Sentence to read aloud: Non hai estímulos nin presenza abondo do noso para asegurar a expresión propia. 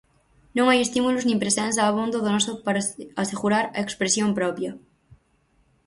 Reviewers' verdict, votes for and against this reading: rejected, 2, 4